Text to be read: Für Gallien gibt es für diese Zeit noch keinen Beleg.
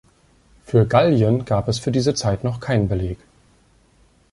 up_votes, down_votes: 0, 2